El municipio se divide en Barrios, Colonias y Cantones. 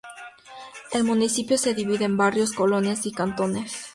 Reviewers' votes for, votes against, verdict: 4, 0, accepted